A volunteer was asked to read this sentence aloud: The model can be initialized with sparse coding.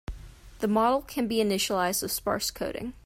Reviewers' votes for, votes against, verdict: 2, 1, accepted